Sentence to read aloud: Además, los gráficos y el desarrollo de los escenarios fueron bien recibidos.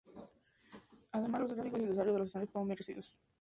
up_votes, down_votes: 0, 4